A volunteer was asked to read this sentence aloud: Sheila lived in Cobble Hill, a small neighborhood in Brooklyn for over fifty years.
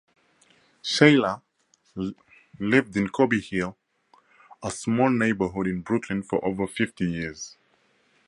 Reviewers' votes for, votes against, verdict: 2, 0, accepted